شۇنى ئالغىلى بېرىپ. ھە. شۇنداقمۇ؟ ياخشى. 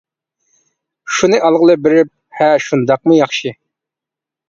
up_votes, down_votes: 2, 0